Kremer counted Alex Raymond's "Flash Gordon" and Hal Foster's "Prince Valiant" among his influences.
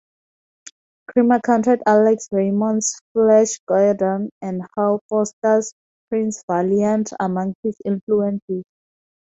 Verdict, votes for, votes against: accepted, 2, 0